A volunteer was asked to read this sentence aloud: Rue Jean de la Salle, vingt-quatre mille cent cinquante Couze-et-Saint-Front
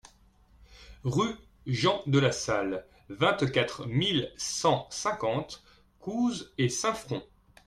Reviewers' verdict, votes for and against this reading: accepted, 2, 0